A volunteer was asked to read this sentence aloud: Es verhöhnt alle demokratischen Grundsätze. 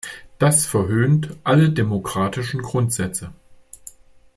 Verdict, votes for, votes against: rejected, 1, 2